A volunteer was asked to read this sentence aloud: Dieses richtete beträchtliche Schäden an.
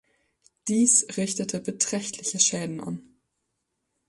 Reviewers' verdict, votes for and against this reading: rejected, 0, 2